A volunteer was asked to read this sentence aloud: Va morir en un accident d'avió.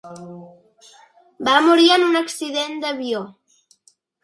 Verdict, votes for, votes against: accepted, 2, 1